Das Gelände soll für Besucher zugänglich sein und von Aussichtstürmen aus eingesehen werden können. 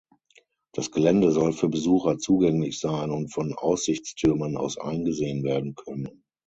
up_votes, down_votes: 0, 6